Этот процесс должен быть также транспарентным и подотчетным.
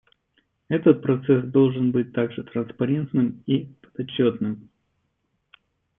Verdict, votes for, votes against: accepted, 2, 1